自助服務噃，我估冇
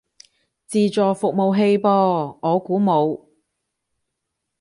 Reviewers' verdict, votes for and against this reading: rejected, 1, 3